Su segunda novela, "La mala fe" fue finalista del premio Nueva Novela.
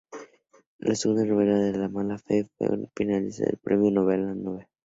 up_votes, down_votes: 0, 2